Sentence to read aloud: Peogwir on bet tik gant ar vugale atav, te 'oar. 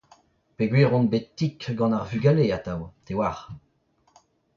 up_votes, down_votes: 0, 2